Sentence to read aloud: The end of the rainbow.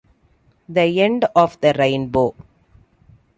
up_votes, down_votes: 2, 1